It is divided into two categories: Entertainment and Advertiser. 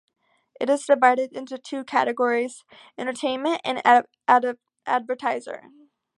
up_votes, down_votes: 0, 2